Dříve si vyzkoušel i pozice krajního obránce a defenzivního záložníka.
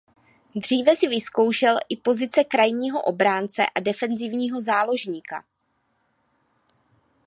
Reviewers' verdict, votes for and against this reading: accepted, 2, 0